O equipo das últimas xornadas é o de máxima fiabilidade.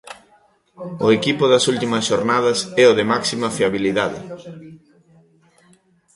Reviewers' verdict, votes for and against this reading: rejected, 1, 2